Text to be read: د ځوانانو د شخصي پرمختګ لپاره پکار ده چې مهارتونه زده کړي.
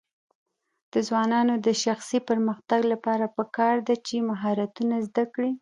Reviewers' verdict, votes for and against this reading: rejected, 1, 2